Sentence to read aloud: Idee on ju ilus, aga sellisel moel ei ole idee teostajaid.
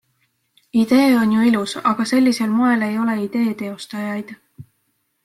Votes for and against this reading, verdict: 2, 0, accepted